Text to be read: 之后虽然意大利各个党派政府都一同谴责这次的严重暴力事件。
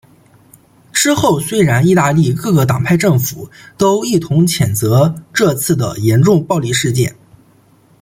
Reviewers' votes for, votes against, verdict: 2, 0, accepted